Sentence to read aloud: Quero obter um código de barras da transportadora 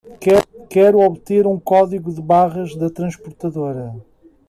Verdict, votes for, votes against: rejected, 0, 2